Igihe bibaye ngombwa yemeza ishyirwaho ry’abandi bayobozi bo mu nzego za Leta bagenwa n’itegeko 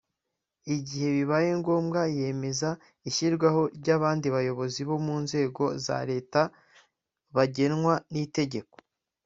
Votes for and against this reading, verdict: 2, 0, accepted